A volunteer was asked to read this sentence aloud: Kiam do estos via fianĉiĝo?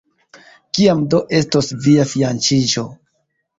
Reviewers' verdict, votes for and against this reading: rejected, 0, 2